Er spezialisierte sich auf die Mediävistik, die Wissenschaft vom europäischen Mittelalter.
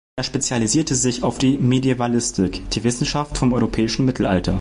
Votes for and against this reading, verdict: 1, 2, rejected